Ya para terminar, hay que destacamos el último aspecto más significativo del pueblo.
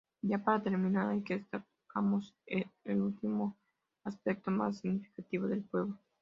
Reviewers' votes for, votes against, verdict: 0, 2, rejected